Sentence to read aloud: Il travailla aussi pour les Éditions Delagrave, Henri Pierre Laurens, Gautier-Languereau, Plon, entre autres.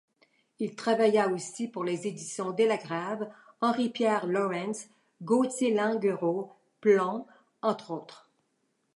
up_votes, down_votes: 1, 2